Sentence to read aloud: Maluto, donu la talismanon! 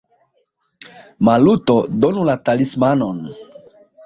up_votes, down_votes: 2, 1